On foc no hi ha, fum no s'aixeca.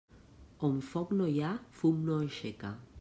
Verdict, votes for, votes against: rejected, 1, 2